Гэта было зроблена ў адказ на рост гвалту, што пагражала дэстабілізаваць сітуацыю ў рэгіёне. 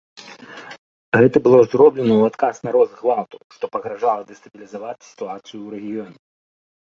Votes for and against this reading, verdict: 2, 0, accepted